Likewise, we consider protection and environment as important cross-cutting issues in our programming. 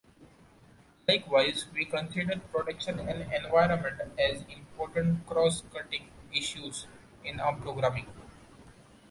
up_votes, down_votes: 2, 0